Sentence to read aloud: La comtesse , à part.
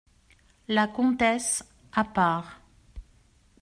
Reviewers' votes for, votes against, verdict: 2, 0, accepted